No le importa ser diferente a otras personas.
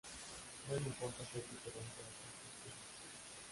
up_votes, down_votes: 0, 2